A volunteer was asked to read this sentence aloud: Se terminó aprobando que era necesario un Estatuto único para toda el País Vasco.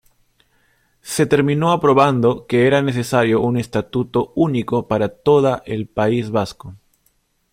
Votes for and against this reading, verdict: 2, 0, accepted